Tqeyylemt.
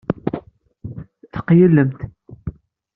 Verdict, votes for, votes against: rejected, 1, 2